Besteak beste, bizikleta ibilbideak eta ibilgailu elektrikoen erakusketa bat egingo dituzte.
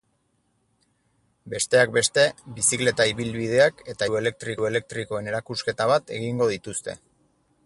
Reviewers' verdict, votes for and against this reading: accepted, 4, 2